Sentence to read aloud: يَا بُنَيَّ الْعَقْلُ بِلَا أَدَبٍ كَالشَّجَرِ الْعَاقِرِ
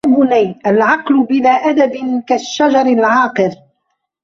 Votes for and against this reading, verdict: 0, 2, rejected